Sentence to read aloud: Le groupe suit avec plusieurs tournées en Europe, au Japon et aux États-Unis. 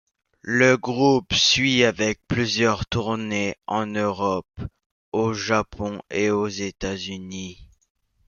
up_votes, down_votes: 2, 1